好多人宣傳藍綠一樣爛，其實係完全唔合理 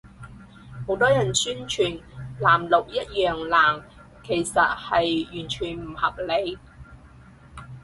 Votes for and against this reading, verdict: 4, 0, accepted